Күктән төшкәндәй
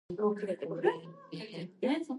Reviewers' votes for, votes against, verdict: 0, 2, rejected